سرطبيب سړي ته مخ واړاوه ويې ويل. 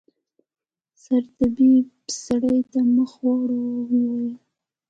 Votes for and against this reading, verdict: 1, 2, rejected